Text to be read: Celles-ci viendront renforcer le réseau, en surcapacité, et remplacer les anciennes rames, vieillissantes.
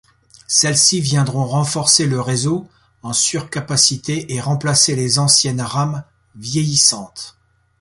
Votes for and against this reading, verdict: 2, 0, accepted